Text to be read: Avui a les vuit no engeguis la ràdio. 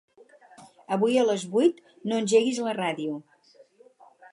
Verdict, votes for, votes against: accepted, 4, 0